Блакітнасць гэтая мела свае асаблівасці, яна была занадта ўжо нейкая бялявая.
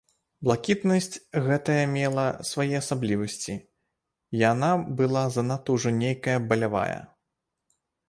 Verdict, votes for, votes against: rejected, 1, 2